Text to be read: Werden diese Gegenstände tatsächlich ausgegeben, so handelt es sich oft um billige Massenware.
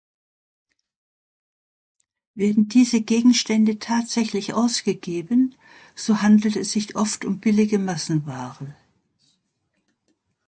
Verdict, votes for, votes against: accepted, 2, 0